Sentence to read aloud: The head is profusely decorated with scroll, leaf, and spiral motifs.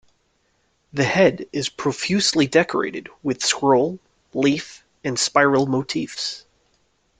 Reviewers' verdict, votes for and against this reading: accepted, 2, 0